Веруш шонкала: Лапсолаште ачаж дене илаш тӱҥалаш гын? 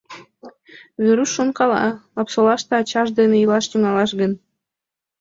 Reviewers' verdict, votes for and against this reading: accepted, 2, 0